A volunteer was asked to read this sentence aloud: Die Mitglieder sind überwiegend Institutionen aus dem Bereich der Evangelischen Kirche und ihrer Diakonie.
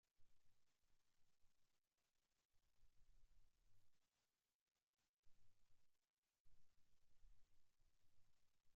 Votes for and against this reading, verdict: 0, 2, rejected